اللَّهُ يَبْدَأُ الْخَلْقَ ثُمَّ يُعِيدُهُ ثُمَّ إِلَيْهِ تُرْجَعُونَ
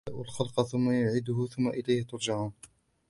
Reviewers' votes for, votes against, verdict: 0, 2, rejected